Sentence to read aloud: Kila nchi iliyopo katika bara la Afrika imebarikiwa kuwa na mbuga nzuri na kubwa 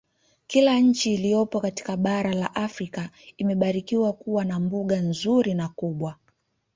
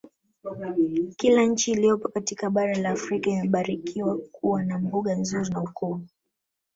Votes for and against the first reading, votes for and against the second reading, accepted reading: 2, 0, 0, 2, first